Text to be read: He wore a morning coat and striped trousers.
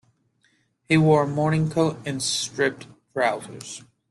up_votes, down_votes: 0, 2